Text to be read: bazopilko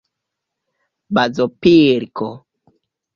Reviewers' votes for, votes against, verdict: 2, 0, accepted